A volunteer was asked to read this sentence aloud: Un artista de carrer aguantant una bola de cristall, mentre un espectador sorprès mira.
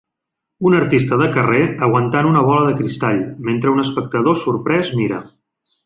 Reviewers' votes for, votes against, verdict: 3, 0, accepted